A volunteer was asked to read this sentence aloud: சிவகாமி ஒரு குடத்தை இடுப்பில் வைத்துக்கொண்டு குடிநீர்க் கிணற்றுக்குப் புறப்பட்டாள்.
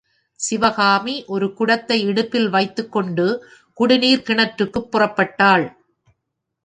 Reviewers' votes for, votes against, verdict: 2, 0, accepted